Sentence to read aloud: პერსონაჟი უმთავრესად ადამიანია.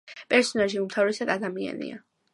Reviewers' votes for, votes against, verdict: 2, 0, accepted